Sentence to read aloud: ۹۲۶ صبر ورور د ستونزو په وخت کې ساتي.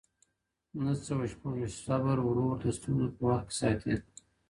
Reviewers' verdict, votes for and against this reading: rejected, 0, 2